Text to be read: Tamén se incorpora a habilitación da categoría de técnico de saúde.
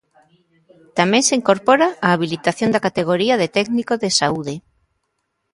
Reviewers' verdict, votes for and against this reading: accepted, 2, 0